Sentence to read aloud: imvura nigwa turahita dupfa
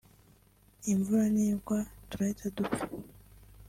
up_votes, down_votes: 2, 0